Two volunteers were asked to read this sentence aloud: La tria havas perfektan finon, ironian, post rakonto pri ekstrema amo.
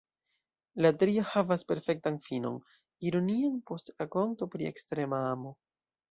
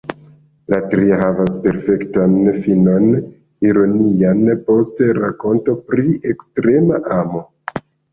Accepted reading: first